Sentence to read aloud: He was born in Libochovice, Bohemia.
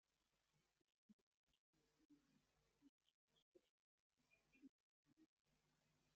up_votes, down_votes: 0, 2